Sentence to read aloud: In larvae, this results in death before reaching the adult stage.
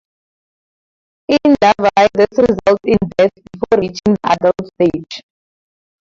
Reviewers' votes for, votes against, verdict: 2, 0, accepted